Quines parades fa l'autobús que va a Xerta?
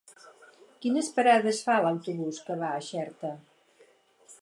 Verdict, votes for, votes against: accepted, 6, 0